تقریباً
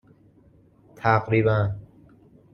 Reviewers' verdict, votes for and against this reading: accepted, 2, 0